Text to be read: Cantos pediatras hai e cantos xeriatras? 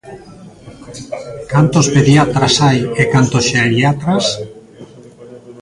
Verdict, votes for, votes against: rejected, 0, 2